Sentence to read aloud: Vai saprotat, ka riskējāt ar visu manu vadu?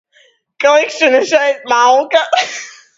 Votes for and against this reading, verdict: 0, 2, rejected